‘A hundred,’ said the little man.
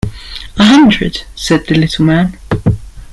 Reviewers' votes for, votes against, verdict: 2, 1, accepted